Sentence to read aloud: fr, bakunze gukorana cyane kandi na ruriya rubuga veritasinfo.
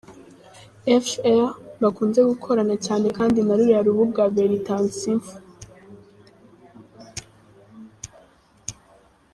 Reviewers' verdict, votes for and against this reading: rejected, 0, 2